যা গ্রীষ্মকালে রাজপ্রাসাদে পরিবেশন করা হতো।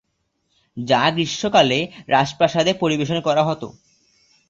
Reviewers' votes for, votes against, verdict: 2, 2, rejected